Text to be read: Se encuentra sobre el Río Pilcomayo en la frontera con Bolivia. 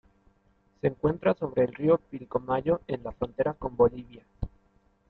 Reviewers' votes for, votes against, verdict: 2, 1, accepted